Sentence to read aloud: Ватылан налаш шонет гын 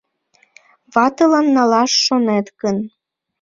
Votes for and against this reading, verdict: 2, 0, accepted